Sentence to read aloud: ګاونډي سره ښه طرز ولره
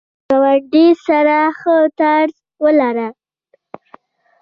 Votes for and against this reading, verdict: 0, 2, rejected